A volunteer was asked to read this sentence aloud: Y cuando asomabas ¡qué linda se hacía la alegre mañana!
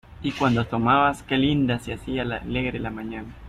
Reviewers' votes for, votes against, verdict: 1, 2, rejected